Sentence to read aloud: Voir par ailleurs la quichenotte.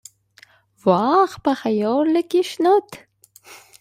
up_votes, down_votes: 0, 2